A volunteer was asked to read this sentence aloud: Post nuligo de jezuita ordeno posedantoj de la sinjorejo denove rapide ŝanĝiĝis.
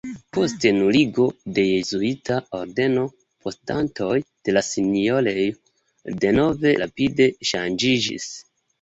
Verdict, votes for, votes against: accepted, 2, 1